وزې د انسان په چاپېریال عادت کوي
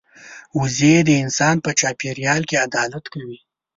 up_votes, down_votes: 2, 4